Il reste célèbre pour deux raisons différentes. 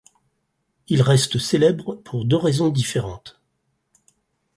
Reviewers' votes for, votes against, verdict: 4, 0, accepted